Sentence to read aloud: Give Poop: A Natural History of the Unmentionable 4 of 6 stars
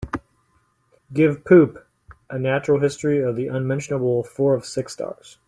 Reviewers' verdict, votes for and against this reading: rejected, 0, 2